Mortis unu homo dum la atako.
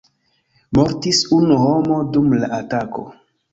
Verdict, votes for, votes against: accepted, 2, 1